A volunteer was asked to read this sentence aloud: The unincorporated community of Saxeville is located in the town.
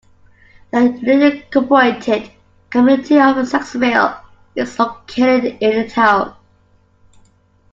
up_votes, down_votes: 0, 2